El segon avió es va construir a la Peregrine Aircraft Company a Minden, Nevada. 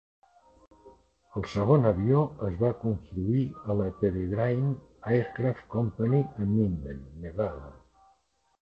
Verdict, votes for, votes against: rejected, 0, 2